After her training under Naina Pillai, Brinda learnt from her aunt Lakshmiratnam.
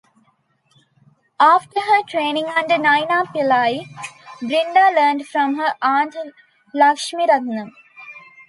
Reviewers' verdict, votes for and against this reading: accepted, 2, 0